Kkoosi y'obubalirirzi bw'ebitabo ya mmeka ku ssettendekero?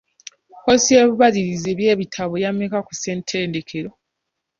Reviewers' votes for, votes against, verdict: 0, 2, rejected